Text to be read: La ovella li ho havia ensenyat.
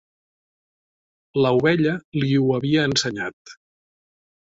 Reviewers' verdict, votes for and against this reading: accepted, 3, 0